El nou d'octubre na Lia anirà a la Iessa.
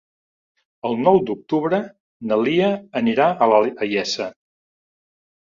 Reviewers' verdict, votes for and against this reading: rejected, 1, 2